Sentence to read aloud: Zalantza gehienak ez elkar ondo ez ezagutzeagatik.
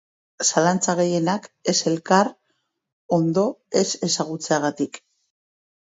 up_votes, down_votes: 2, 0